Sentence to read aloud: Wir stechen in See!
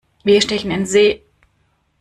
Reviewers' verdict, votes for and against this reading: accepted, 2, 0